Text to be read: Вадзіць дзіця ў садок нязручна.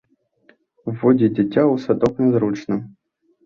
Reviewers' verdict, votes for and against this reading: rejected, 0, 2